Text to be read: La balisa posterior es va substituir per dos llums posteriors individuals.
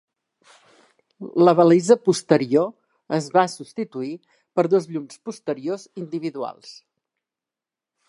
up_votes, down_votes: 1, 2